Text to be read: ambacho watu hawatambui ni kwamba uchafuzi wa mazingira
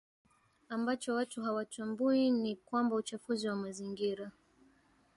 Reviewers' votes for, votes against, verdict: 2, 1, accepted